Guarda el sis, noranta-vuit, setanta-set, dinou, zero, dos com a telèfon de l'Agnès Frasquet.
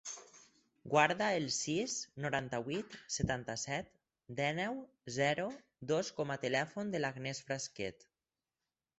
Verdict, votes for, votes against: rejected, 2, 4